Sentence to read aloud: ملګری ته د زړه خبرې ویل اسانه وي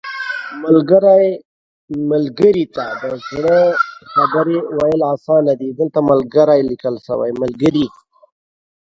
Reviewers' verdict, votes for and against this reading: rejected, 0, 3